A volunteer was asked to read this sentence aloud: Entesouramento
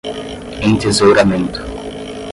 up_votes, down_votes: 10, 0